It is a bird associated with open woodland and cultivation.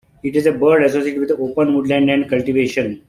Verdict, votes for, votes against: rejected, 1, 2